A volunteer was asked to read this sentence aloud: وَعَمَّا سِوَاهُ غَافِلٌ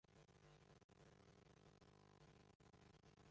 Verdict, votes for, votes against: rejected, 1, 2